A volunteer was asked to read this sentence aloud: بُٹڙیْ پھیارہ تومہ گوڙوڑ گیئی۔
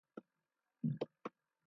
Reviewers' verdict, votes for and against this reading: rejected, 0, 2